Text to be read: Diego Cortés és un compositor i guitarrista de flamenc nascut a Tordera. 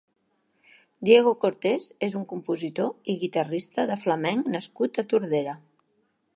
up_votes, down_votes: 3, 0